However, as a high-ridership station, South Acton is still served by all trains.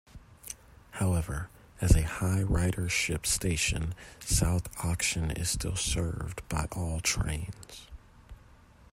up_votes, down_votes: 0, 2